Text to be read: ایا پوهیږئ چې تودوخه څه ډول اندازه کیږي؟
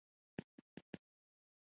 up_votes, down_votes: 0, 2